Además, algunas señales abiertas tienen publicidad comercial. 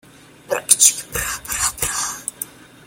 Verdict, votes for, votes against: rejected, 0, 2